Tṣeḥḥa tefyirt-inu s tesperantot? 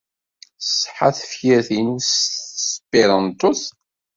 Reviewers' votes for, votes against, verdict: 1, 2, rejected